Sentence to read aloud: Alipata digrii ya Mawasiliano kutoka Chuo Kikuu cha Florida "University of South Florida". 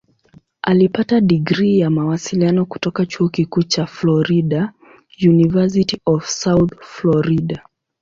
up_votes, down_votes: 4, 1